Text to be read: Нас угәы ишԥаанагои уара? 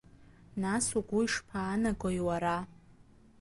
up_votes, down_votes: 2, 1